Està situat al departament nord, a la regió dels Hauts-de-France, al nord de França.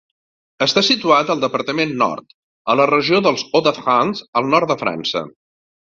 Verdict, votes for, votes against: accepted, 4, 0